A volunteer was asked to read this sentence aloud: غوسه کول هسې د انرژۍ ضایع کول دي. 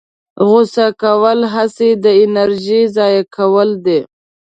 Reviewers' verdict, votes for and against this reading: accepted, 2, 1